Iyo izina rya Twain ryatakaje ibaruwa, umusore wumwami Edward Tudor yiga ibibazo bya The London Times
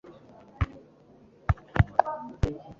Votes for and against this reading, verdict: 1, 2, rejected